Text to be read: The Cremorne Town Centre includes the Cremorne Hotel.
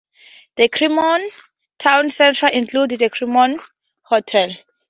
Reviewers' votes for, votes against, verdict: 2, 0, accepted